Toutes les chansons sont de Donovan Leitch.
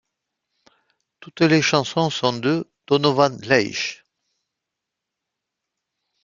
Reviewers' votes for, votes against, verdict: 2, 0, accepted